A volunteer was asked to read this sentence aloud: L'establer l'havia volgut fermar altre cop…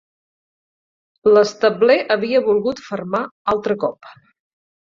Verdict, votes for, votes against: rejected, 2, 4